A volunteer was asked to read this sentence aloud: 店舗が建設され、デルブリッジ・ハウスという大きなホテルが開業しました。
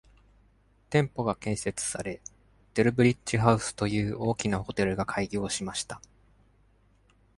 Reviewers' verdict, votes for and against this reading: accepted, 2, 0